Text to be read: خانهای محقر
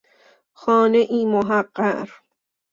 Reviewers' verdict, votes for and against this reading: accepted, 2, 0